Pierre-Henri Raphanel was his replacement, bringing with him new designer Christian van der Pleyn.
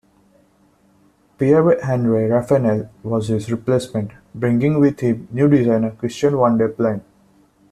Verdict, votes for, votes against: rejected, 1, 2